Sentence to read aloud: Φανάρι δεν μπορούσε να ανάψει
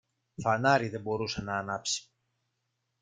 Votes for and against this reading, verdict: 2, 0, accepted